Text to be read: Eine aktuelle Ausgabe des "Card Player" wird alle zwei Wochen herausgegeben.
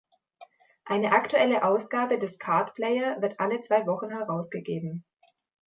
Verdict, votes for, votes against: accepted, 2, 0